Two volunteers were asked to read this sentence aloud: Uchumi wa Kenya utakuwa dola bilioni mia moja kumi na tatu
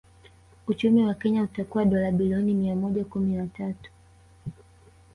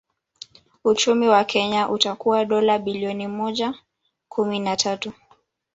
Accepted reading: first